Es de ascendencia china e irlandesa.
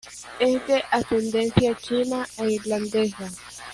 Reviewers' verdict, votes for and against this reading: rejected, 0, 2